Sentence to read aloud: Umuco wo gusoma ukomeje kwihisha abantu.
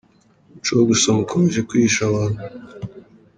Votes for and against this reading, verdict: 3, 1, accepted